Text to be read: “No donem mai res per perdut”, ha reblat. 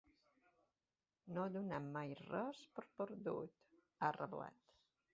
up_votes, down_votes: 2, 1